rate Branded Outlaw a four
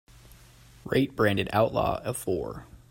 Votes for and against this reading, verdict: 2, 0, accepted